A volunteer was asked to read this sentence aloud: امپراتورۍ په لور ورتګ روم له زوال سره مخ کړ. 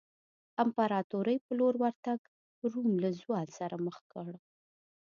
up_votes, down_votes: 2, 0